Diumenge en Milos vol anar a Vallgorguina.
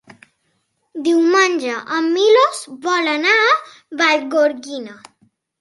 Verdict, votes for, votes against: accepted, 3, 1